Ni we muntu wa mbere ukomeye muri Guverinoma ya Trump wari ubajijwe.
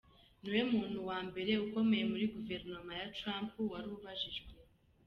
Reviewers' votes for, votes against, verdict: 2, 1, accepted